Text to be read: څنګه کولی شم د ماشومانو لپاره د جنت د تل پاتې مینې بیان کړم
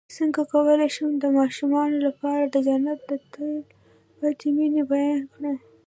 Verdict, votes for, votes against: rejected, 1, 2